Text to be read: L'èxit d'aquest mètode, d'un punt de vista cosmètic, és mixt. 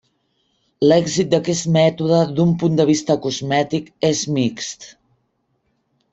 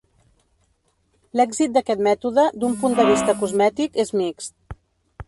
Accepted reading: first